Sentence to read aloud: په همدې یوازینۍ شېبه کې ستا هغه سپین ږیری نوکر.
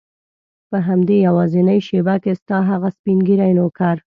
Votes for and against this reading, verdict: 2, 0, accepted